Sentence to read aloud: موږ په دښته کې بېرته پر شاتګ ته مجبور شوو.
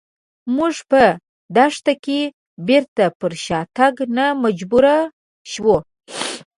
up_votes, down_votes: 2, 1